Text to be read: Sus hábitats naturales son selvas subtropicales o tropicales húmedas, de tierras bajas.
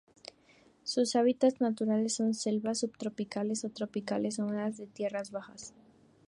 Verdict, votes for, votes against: accepted, 2, 0